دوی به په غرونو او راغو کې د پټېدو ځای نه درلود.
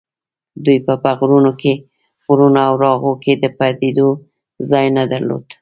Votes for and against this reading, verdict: 0, 2, rejected